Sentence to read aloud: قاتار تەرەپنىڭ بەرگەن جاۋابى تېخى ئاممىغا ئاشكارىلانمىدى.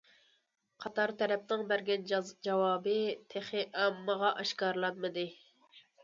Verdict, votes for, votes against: rejected, 1, 2